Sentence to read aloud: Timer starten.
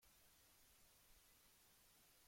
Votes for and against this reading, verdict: 0, 2, rejected